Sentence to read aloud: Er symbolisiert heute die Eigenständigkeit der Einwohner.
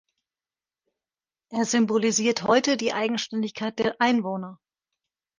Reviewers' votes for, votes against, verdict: 1, 2, rejected